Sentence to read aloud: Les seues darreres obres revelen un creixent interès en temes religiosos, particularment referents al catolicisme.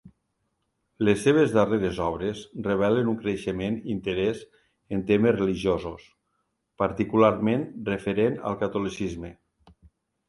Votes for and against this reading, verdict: 0, 3, rejected